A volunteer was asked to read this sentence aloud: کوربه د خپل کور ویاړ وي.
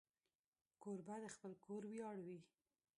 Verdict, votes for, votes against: rejected, 1, 2